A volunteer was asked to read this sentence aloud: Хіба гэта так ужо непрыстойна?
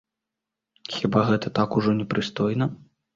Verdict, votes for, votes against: accepted, 2, 0